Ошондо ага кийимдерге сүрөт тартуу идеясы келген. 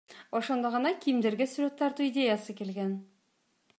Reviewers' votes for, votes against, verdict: 2, 0, accepted